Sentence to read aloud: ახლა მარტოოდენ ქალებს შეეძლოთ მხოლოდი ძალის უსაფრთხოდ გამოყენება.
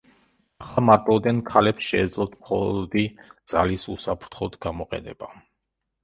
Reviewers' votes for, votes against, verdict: 0, 2, rejected